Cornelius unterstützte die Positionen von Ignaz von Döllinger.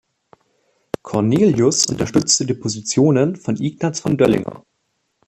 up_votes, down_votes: 2, 0